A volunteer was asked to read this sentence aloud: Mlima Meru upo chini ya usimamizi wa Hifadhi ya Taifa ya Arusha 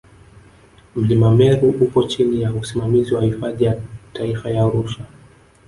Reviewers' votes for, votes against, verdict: 1, 2, rejected